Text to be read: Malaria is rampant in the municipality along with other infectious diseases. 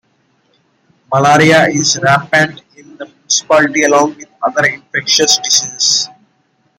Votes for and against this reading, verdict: 1, 2, rejected